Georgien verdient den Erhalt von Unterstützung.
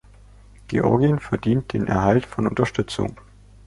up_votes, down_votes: 2, 0